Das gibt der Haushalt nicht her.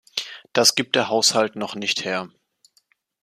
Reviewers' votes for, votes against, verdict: 0, 2, rejected